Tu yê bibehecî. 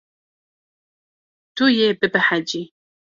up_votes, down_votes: 2, 0